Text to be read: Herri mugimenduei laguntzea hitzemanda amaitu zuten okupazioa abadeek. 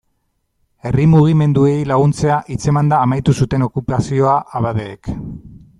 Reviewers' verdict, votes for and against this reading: accepted, 2, 0